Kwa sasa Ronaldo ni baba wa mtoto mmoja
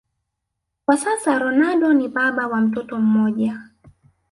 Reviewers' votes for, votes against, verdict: 3, 0, accepted